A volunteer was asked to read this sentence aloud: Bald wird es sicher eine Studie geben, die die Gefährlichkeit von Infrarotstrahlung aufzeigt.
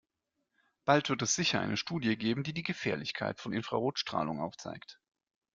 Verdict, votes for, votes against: accepted, 2, 0